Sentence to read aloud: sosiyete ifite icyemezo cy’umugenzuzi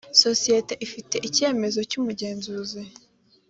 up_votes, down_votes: 2, 0